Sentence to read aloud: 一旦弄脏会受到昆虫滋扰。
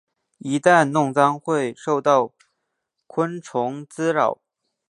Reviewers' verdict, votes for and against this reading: accepted, 3, 2